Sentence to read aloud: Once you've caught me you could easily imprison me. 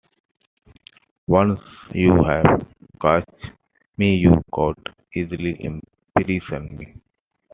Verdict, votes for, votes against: accepted, 2, 1